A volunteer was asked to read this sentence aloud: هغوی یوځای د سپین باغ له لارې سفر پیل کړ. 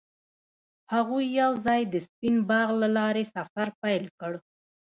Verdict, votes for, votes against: accepted, 2, 0